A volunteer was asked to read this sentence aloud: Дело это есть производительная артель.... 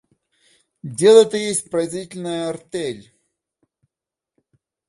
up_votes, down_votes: 2, 0